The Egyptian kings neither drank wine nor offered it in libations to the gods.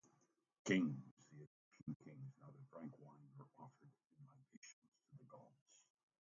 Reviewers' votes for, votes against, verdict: 0, 2, rejected